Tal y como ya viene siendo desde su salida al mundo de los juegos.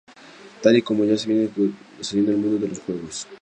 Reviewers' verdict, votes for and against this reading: rejected, 2, 2